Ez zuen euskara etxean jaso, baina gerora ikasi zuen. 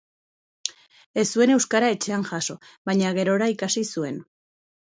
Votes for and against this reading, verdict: 4, 0, accepted